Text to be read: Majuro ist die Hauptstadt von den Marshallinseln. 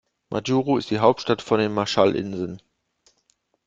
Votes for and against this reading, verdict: 2, 0, accepted